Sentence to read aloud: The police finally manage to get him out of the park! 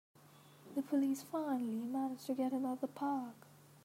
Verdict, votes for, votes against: accepted, 2, 0